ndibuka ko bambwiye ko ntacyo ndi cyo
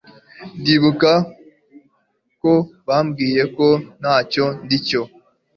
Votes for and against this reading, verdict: 2, 0, accepted